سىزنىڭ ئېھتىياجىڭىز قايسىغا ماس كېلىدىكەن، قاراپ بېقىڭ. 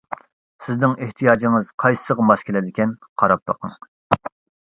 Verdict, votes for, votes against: accepted, 2, 1